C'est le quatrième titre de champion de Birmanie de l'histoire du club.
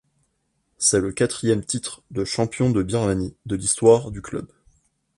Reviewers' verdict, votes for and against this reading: accepted, 2, 0